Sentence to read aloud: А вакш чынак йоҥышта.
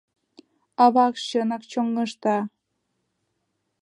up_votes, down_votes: 1, 2